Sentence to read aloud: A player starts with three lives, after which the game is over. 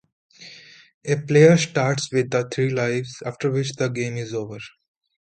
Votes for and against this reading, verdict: 1, 2, rejected